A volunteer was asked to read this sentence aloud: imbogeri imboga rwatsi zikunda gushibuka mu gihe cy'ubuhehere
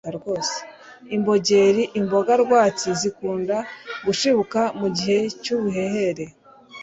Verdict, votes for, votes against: accepted, 2, 0